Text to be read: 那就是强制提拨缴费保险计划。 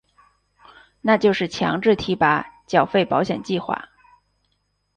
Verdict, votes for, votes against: accepted, 2, 0